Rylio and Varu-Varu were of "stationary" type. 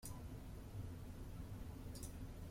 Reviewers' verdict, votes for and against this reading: rejected, 0, 2